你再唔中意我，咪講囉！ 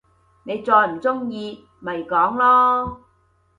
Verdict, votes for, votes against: rejected, 0, 2